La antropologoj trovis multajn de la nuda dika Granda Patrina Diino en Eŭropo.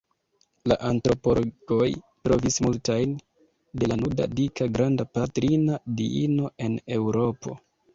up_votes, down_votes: 0, 2